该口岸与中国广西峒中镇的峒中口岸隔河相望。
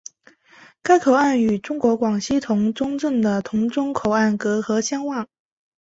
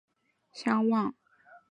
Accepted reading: first